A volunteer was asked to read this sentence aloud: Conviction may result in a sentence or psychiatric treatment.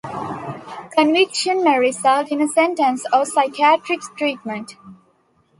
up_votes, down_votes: 2, 0